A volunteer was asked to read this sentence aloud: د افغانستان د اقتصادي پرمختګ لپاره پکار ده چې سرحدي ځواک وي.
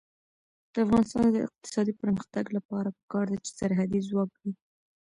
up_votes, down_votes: 0, 2